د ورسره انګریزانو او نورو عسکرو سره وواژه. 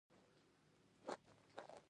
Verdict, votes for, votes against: rejected, 0, 2